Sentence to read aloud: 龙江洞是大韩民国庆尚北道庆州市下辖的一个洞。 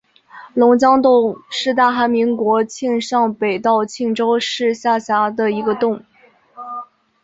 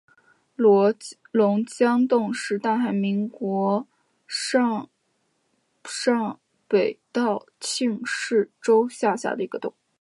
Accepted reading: first